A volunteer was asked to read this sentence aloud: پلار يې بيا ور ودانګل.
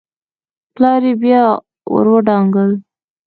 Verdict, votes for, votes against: rejected, 1, 2